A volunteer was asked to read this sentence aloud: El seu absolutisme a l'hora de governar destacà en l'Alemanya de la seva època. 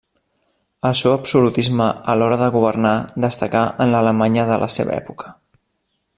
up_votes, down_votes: 3, 0